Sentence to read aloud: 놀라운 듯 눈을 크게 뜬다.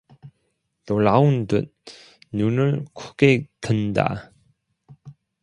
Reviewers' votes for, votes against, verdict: 1, 2, rejected